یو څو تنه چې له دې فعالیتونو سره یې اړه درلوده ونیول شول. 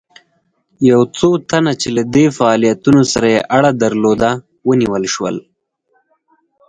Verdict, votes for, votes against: accepted, 4, 0